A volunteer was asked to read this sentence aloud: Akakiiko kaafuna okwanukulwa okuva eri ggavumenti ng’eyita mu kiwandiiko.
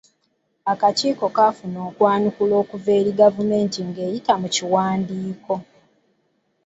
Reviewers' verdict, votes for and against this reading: rejected, 1, 2